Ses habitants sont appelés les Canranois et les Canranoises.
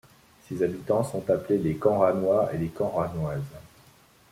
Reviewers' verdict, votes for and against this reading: accepted, 2, 0